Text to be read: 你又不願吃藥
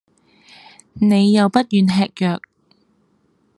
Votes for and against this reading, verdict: 2, 0, accepted